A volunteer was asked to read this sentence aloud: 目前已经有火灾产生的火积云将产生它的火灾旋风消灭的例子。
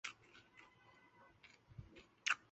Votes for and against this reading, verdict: 2, 8, rejected